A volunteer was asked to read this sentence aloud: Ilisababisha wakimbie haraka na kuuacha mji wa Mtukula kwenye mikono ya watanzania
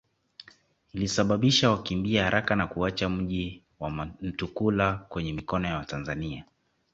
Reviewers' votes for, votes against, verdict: 2, 1, accepted